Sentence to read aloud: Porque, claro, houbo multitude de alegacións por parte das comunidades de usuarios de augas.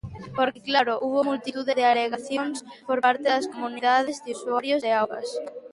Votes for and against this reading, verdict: 0, 2, rejected